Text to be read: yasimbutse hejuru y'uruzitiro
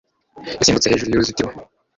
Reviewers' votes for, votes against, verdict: 1, 2, rejected